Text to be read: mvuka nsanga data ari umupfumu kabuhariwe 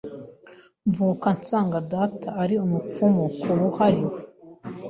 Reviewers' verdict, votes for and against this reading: rejected, 1, 2